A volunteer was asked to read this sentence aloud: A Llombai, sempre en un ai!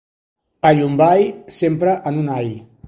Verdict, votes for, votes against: accepted, 3, 0